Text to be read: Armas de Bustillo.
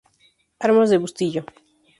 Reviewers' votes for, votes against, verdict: 4, 0, accepted